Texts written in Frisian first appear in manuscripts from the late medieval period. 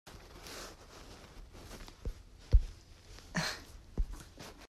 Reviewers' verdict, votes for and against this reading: rejected, 0, 3